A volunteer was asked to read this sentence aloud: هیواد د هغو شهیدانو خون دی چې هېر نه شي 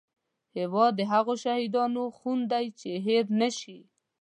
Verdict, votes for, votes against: accepted, 2, 0